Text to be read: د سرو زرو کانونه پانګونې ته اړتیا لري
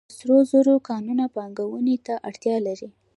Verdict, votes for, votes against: accepted, 2, 1